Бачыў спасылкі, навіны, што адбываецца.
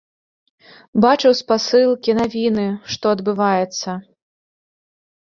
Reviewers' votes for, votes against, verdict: 2, 0, accepted